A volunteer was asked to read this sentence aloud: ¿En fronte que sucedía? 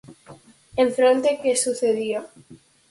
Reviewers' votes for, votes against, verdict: 4, 0, accepted